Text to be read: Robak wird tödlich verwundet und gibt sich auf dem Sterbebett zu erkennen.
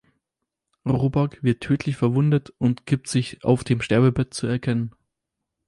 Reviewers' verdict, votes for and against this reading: accepted, 4, 0